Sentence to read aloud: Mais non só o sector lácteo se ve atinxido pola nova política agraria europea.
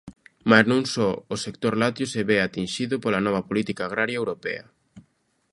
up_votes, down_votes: 2, 0